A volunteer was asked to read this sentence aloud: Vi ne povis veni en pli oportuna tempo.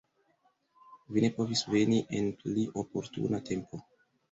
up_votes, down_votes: 2, 0